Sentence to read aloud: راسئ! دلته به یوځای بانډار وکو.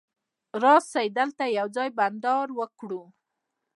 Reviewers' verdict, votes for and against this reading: rejected, 0, 2